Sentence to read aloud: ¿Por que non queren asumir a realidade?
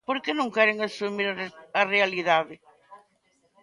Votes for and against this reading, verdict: 0, 2, rejected